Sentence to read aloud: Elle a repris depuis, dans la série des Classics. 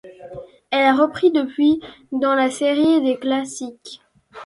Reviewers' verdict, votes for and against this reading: accepted, 2, 0